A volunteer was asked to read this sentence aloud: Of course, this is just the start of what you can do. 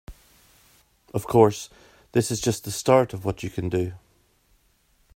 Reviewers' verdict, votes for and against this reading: accepted, 2, 0